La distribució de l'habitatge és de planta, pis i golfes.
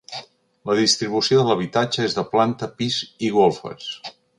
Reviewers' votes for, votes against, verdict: 2, 0, accepted